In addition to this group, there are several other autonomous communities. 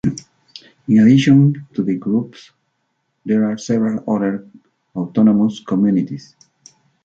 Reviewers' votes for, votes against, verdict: 0, 2, rejected